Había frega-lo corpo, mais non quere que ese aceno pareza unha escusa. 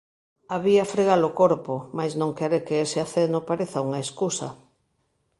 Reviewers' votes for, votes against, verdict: 2, 0, accepted